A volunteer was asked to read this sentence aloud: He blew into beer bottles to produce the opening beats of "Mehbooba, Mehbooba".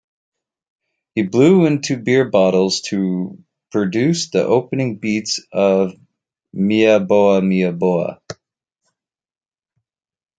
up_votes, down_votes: 0, 2